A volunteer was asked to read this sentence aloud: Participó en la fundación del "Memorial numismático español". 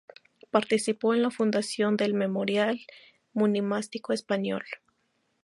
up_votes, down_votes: 0, 2